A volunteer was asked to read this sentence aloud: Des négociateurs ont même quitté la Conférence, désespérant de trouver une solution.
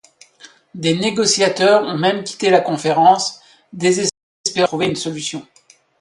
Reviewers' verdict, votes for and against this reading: rejected, 0, 2